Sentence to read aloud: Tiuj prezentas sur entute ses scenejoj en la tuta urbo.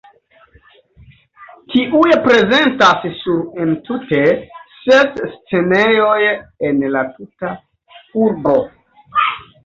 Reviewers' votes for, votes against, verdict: 1, 3, rejected